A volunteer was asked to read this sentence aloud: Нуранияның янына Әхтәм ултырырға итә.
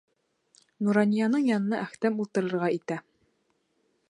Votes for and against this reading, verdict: 2, 0, accepted